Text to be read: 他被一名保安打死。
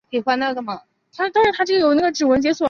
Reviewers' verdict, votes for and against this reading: rejected, 0, 2